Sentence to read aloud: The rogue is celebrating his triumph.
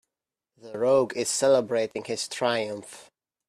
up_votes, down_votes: 2, 0